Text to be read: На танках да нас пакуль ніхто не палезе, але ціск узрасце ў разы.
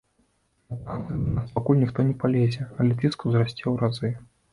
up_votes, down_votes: 0, 2